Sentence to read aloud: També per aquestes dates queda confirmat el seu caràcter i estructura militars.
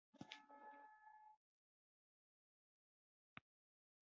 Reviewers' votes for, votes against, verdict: 0, 2, rejected